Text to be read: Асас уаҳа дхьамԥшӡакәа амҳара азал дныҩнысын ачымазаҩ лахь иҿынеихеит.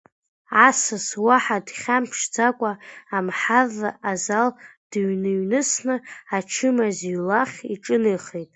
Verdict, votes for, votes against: rejected, 0, 3